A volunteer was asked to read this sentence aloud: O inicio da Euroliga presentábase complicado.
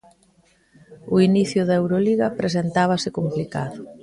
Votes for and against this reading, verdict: 2, 0, accepted